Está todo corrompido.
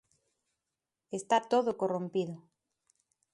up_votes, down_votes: 2, 0